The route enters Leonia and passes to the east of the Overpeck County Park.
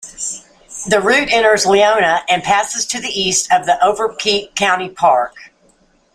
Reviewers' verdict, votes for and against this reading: rejected, 1, 2